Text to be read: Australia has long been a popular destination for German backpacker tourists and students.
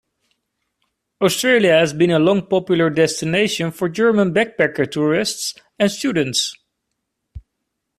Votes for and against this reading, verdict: 1, 2, rejected